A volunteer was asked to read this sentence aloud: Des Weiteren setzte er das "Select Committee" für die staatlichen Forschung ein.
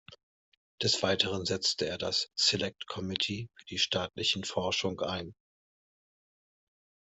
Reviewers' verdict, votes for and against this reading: rejected, 0, 2